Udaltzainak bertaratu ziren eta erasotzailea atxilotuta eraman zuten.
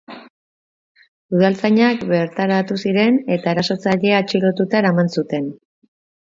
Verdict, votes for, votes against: accepted, 3, 0